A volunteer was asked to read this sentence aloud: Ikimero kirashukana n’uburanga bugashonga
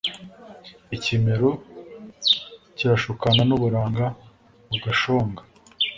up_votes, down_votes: 2, 0